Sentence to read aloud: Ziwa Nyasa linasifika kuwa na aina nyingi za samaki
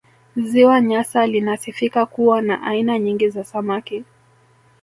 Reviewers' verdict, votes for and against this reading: rejected, 1, 2